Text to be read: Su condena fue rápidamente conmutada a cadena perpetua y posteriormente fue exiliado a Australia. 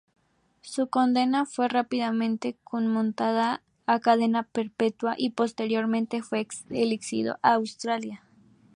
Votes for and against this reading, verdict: 0, 2, rejected